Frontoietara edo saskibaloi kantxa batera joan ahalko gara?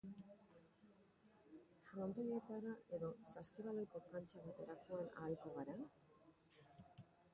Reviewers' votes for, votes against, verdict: 0, 3, rejected